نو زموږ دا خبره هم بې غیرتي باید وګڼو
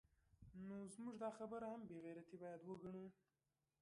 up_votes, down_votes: 1, 2